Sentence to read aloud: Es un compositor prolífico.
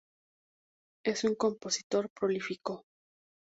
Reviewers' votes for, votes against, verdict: 6, 0, accepted